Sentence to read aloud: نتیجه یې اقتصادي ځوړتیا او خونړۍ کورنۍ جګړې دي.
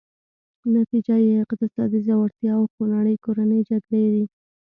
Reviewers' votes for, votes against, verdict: 2, 0, accepted